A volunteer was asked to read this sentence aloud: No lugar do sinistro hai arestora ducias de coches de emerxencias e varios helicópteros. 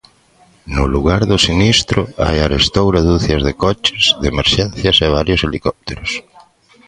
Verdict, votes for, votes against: rejected, 1, 2